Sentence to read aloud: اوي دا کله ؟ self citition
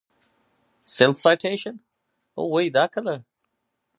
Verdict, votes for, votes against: accepted, 4, 0